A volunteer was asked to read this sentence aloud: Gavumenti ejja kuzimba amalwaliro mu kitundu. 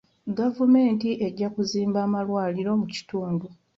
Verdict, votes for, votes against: accepted, 2, 0